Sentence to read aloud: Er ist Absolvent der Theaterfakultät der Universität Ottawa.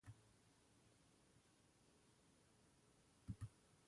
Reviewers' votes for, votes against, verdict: 0, 2, rejected